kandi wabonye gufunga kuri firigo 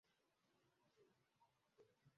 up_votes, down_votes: 0, 2